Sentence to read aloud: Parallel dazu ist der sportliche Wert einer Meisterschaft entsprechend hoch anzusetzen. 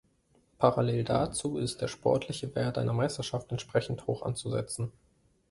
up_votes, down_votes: 2, 0